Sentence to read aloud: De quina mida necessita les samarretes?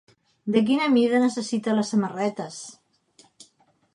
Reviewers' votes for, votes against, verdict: 2, 0, accepted